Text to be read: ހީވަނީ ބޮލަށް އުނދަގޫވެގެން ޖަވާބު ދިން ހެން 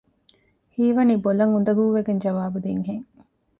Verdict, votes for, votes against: accepted, 2, 0